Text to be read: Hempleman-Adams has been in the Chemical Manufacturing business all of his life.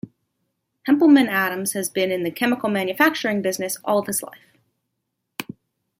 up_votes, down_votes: 0, 2